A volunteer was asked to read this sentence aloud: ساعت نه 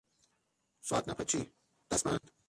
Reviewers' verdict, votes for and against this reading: rejected, 0, 3